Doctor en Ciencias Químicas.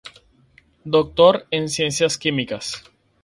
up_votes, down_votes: 2, 2